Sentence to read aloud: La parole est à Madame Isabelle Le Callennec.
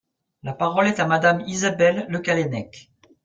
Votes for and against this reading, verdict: 3, 0, accepted